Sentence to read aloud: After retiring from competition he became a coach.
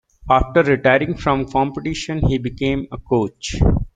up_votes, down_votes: 2, 0